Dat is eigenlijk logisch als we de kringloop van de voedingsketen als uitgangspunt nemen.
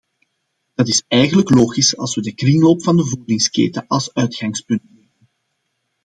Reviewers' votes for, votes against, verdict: 0, 2, rejected